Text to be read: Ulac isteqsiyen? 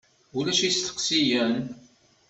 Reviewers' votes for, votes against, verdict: 2, 0, accepted